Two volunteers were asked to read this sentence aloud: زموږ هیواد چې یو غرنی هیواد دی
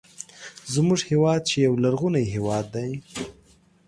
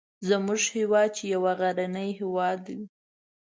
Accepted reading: first